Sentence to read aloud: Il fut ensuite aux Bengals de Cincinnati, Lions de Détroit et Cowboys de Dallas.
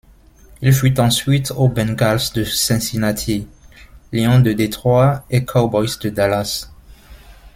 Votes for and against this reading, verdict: 1, 2, rejected